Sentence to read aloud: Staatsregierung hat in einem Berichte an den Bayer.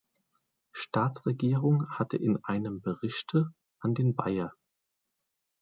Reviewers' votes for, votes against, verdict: 2, 0, accepted